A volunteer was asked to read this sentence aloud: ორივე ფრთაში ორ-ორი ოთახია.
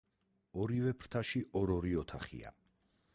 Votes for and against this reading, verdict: 4, 0, accepted